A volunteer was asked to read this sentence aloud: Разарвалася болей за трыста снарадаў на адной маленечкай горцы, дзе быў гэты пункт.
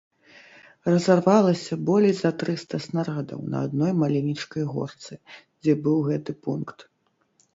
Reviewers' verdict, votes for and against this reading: accepted, 2, 0